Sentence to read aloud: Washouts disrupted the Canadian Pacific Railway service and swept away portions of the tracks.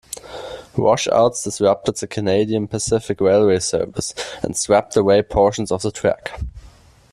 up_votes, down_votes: 1, 2